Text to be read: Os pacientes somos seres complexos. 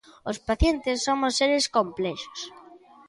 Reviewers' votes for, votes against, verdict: 2, 0, accepted